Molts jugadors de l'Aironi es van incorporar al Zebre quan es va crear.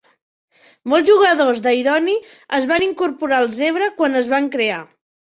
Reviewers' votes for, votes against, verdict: 0, 3, rejected